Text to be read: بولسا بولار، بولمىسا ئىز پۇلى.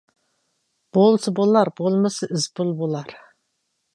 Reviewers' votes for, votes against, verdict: 0, 2, rejected